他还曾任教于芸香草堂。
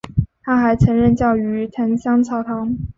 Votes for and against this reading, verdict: 2, 1, accepted